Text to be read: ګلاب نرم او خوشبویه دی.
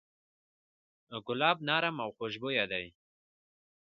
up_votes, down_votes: 2, 1